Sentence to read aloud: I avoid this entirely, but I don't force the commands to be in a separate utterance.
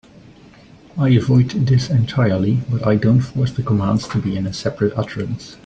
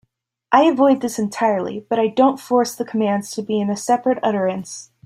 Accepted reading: second